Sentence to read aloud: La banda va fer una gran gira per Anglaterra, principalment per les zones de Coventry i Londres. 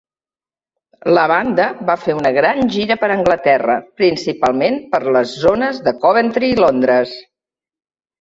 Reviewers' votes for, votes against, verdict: 3, 0, accepted